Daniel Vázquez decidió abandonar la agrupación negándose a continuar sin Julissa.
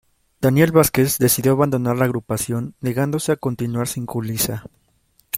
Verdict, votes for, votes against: accepted, 2, 0